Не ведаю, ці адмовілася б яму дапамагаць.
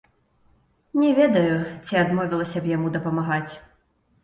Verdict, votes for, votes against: rejected, 0, 2